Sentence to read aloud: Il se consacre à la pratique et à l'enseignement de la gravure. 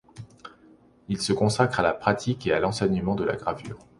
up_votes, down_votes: 2, 0